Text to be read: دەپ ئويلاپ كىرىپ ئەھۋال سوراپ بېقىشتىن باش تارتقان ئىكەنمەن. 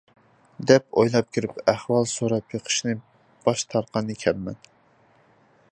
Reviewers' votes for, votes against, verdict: 0, 2, rejected